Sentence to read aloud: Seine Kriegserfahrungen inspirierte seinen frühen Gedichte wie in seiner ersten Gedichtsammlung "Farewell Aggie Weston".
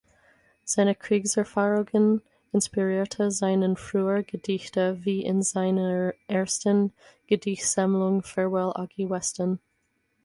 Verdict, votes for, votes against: rejected, 2, 4